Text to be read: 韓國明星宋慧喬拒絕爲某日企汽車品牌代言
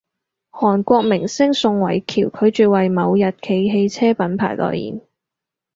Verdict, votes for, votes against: accepted, 4, 0